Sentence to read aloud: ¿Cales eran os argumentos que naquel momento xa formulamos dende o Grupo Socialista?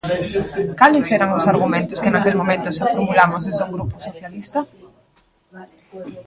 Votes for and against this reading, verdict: 0, 2, rejected